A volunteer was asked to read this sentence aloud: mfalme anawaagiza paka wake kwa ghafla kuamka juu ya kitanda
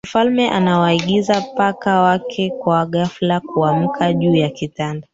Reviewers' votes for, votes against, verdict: 0, 2, rejected